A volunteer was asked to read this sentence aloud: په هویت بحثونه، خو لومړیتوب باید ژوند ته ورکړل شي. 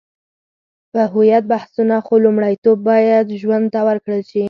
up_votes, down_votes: 4, 0